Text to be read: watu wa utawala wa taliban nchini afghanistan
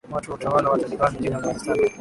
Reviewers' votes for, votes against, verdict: 6, 5, accepted